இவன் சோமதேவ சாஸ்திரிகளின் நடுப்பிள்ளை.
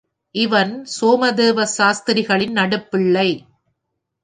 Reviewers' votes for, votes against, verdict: 2, 0, accepted